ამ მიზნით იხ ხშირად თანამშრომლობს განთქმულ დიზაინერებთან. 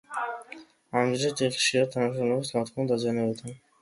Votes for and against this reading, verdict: 2, 1, accepted